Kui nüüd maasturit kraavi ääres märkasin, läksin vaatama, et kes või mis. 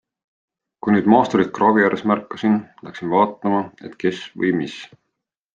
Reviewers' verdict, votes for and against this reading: accepted, 2, 0